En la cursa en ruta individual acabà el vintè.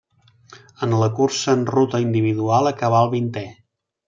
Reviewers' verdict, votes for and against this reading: accepted, 3, 0